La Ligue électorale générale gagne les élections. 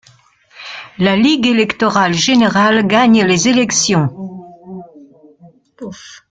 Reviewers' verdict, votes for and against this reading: rejected, 1, 2